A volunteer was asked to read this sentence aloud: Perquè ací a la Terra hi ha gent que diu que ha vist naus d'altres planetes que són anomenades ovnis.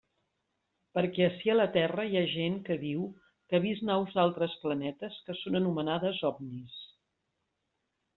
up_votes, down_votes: 2, 0